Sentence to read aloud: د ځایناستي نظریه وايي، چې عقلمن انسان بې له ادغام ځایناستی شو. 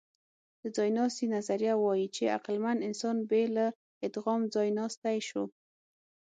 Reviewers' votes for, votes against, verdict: 6, 0, accepted